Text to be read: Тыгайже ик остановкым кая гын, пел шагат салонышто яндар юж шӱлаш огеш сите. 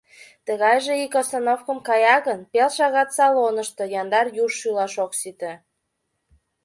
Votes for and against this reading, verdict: 0, 2, rejected